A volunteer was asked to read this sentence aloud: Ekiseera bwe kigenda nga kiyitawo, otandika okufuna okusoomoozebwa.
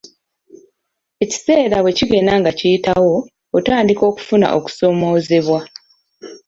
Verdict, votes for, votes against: accepted, 2, 0